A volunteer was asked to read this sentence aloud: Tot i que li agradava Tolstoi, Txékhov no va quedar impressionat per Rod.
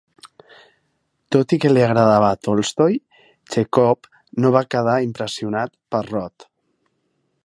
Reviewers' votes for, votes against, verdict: 2, 1, accepted